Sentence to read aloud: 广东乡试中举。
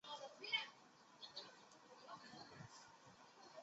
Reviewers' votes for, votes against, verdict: 0, 2, rejected